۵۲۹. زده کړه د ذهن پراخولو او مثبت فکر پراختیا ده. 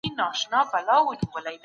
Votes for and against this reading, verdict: 0, 2, rejected